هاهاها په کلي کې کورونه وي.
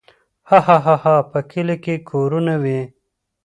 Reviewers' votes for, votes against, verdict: 2, 0, accepted